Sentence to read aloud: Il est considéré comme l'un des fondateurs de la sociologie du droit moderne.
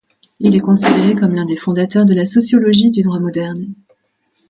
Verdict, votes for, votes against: accepted, 2, 0